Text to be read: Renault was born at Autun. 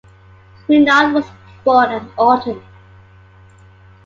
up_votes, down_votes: 2, 0